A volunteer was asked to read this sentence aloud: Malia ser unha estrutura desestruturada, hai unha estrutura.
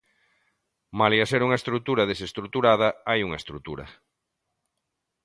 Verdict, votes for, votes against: accepted, 2, 0